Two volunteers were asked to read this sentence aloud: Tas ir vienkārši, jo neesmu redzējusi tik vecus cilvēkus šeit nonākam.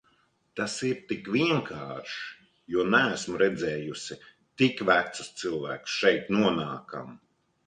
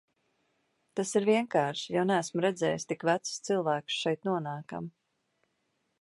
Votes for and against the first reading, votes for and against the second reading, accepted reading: 1, 2, 3, 0, second